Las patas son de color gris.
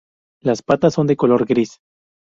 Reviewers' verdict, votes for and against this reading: rejected, 0, 2